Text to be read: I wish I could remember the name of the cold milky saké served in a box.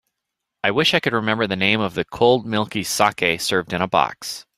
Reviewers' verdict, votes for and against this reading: accepted, 2, 0